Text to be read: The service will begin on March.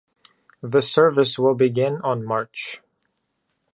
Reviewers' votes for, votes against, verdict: 2, 0, accepted